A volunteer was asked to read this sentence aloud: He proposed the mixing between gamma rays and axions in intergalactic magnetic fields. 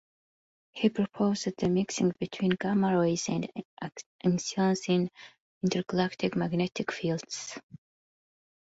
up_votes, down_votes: 0, 2